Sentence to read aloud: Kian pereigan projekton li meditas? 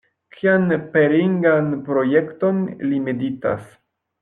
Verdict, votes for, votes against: rejected, 0, 2